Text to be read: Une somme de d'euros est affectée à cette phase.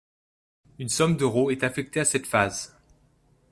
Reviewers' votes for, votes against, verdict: 1, 2, rejected